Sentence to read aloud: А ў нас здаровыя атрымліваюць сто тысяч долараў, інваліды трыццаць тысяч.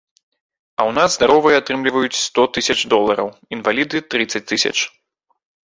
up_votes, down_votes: 2, 0